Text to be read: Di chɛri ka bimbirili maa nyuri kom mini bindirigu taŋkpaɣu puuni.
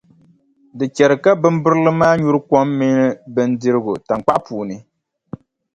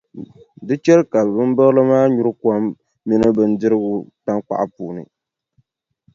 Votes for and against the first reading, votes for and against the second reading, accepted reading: 3, 0, 0, 2, first